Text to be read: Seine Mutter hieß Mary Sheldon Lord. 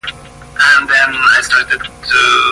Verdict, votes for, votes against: rejected, 0, 2